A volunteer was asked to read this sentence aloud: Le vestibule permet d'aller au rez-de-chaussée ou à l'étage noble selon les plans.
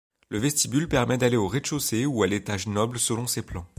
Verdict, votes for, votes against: rejected, 0, 2